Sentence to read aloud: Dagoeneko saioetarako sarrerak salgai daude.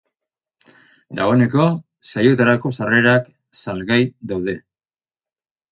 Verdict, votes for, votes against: accepted, 4, 0